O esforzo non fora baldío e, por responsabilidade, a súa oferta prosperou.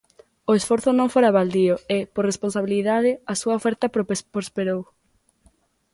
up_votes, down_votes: 0, 2